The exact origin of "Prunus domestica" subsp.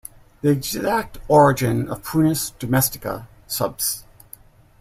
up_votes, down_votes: 2, 1